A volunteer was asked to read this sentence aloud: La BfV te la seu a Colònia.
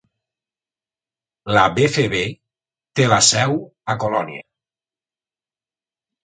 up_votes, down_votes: 2, 0